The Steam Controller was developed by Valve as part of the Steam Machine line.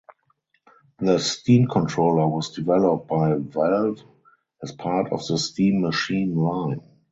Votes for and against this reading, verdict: 4, 0, accepted